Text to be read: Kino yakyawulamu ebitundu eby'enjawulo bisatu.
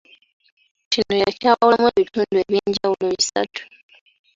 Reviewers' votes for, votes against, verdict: 2, 1, accepted